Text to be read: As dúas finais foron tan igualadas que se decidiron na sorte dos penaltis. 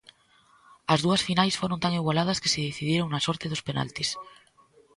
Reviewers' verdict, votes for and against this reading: rejected, 1, 2